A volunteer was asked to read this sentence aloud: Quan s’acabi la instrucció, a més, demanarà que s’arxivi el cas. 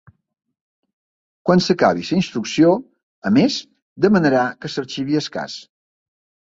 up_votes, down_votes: 0, 3